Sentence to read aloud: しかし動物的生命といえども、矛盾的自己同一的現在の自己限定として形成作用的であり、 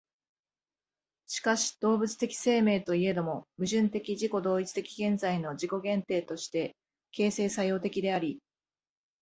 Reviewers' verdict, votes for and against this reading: accepted, 2, 0